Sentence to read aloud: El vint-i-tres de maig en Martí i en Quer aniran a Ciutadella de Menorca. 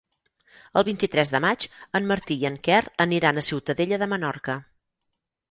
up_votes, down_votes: 6, 0